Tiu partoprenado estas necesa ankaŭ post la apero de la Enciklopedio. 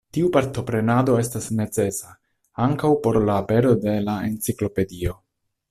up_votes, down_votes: 0, 2